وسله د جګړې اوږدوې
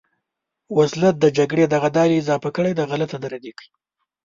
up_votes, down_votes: 0, 2